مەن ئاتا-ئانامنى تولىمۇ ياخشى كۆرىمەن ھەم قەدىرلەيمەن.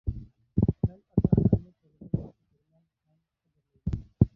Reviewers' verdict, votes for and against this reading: rejected, 0, 2